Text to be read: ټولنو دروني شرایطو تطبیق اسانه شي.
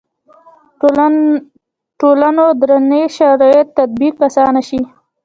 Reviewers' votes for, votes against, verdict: 0, 3, rejected